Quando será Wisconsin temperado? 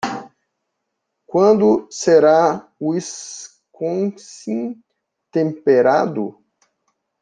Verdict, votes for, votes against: rejected, 1, 2